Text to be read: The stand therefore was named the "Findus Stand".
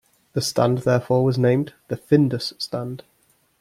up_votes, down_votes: 2, 0